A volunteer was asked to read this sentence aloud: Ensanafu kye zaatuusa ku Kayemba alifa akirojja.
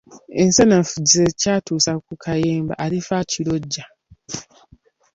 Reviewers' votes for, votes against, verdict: 1, 2, rejected